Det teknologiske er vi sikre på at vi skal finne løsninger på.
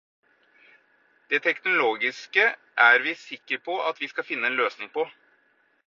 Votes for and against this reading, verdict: 2, 4, rejected